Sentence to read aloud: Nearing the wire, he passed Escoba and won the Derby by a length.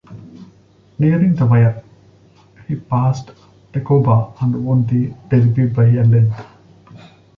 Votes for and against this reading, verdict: 1, 2, rejected